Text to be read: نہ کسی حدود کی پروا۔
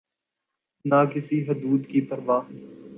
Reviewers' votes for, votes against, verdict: 2, 0, accepted